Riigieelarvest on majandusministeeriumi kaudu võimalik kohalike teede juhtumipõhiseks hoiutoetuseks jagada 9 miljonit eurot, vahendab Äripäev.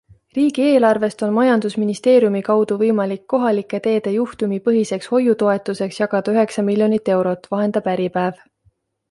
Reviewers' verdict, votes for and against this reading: rejected, 0, 2